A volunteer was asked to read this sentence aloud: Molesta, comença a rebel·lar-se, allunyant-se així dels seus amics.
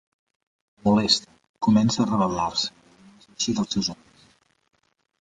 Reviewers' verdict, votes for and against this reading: rejected, 0, 2